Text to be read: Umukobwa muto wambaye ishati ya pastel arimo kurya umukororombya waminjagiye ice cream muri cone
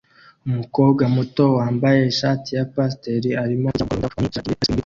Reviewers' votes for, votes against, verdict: 0, 2, rejected